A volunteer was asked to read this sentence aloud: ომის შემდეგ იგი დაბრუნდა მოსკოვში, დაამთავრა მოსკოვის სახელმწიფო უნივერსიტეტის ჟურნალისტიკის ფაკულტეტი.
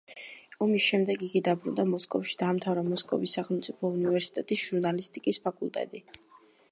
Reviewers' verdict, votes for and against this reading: rejected, 1, 2